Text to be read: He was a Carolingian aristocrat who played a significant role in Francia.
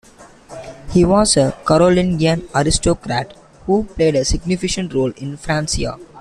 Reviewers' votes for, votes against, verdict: 2, 1, accepted